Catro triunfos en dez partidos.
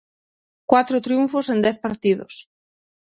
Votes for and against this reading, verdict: 0, 6, rejected